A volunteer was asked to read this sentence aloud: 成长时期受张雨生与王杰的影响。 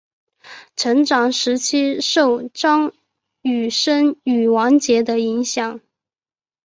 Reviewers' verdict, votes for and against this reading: accepted, 5, 0